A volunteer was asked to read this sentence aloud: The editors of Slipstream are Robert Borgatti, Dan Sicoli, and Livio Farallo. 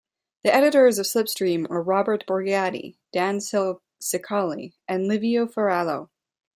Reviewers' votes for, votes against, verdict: 1, 2, rejected